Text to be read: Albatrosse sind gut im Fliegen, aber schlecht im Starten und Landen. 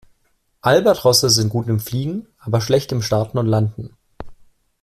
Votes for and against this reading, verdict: 2, 0, accepted